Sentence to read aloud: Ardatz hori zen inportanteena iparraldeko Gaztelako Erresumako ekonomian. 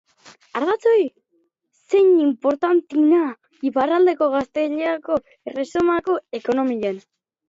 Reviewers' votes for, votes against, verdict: 0, 3, rejected